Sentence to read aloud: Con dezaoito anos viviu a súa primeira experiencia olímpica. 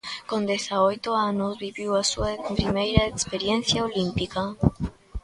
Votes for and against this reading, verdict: 2, 0, accepted